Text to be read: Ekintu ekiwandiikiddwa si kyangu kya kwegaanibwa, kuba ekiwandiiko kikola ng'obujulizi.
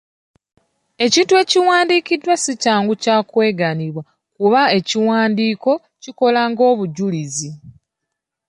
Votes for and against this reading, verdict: 2, 0, accepted